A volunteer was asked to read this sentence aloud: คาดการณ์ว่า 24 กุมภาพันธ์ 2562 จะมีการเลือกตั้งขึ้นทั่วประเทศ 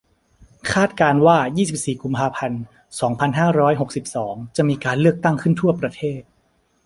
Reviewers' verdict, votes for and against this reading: rejected, 0, 2